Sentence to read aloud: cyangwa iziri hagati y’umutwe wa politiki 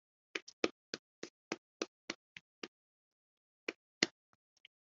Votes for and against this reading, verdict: 0, 2, rejected